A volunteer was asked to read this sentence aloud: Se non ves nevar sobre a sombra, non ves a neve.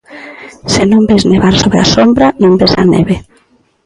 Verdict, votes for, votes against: accepted, 2, 0